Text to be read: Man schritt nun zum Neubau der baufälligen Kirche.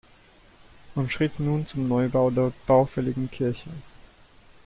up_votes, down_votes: 1, 2